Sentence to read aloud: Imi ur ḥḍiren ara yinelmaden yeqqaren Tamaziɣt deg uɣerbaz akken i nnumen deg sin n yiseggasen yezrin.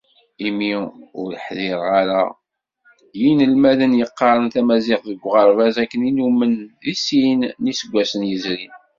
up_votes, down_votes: 0, 2